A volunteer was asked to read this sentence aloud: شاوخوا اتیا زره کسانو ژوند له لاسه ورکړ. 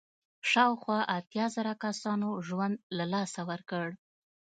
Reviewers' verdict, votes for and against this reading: accepted, 2, 0